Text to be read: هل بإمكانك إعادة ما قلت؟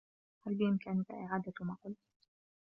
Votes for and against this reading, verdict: 1, 2, rejected